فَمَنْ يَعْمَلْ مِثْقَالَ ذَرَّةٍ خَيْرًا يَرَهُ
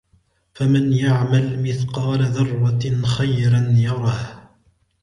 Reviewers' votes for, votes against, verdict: 2, 0, accepted